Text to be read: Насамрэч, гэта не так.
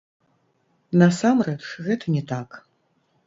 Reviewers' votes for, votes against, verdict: 1, 2, rejected